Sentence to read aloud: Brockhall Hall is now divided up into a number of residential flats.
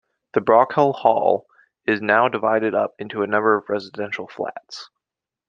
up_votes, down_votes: 0, 2